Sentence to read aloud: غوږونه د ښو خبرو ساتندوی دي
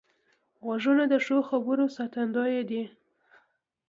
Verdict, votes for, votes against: accepted, 2, 0